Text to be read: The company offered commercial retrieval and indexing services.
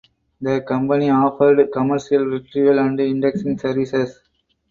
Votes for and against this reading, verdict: 2, 0, accepted